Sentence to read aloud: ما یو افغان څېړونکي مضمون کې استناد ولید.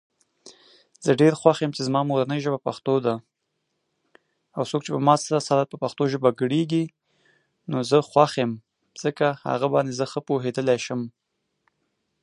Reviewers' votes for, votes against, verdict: 0, 2, rejected